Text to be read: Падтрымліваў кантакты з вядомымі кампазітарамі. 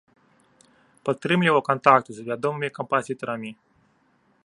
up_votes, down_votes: 1, 2